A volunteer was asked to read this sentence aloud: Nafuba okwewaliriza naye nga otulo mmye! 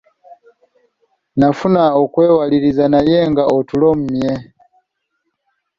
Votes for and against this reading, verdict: 2, 0, accepted